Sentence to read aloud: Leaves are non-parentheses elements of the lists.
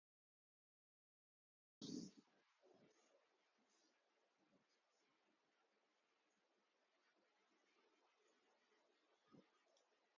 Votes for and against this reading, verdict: 0, 2, rejected